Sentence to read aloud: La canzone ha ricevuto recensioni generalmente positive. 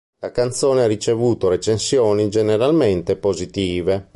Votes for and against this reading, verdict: 2, 0, accepted